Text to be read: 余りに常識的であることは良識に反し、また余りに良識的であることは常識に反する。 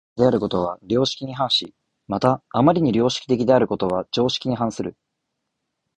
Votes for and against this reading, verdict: 2, 0, accepted